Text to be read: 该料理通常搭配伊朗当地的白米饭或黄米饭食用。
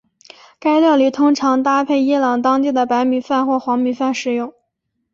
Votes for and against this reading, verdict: 2, 0, accepted